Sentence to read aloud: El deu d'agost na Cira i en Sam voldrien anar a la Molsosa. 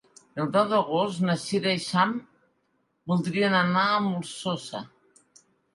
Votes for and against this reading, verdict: 0, 2, rejected